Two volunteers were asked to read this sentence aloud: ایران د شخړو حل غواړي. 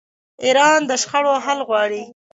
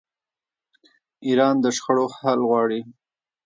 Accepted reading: first